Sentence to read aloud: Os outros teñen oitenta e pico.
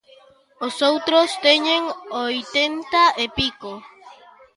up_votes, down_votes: 0, 2